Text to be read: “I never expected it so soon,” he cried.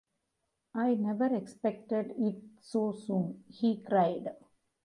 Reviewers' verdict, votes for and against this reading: rejected, 1, 2